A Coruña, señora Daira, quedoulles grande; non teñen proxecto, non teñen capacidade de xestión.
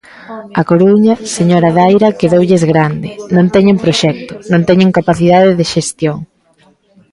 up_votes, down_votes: 0, 2